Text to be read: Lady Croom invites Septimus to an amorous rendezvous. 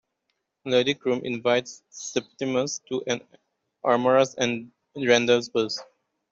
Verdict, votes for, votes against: accepted, 2, 0